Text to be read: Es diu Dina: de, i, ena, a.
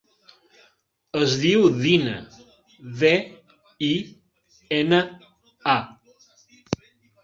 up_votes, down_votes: 2, 0